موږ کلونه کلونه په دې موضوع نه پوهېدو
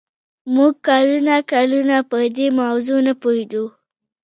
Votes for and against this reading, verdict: 1, 2, rejected